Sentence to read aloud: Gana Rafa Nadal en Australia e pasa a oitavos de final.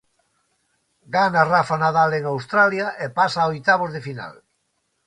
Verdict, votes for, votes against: accepted, 2, 0